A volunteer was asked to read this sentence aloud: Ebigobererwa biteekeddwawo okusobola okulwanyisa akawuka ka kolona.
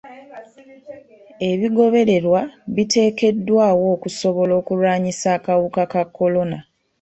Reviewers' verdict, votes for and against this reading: accepted, 2, 0